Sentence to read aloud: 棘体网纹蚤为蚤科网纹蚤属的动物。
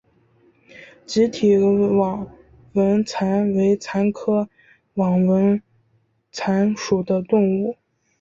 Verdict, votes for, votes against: rejected, 0, 2